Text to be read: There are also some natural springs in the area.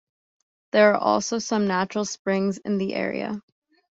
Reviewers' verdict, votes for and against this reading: accepted, 2, 0